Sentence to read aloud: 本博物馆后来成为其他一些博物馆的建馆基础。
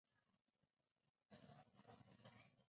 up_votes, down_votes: 0, 4